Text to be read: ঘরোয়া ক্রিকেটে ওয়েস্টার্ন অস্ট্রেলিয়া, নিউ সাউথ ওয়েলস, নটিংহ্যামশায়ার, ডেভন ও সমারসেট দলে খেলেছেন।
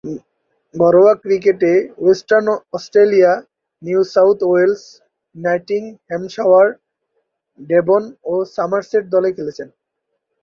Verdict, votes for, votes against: rejected, 0, 3